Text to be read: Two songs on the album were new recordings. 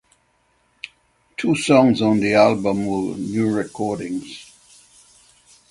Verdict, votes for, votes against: accepted, 6, 0